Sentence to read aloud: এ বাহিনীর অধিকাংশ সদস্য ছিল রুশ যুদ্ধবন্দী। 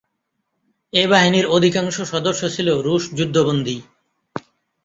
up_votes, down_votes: 2, 1